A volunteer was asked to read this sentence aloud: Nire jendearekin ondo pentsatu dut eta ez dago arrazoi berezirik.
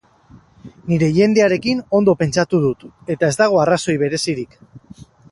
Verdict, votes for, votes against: accepted, 4, 0